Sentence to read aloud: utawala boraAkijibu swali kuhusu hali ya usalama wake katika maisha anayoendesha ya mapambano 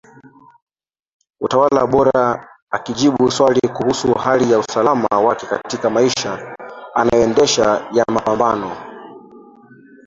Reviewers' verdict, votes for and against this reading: rejected, 0, 4